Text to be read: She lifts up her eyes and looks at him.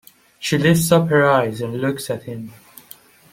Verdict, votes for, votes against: accepted, 2, 0